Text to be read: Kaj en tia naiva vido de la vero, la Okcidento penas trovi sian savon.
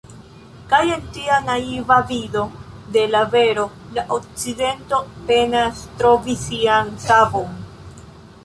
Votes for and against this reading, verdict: 0, 2, rejected